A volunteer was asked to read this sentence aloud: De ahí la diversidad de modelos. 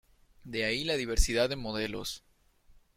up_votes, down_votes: 2, 0